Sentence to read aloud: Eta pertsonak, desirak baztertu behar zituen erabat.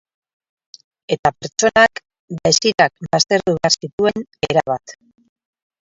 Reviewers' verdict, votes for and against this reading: rejected, 0, 4